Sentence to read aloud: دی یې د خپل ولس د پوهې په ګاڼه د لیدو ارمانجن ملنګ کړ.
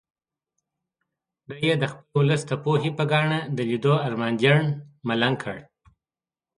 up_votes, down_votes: 1, 2